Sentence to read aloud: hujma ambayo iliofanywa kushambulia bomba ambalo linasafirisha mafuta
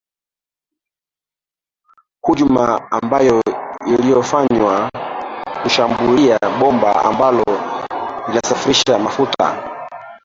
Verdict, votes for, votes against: rejected, 0, 2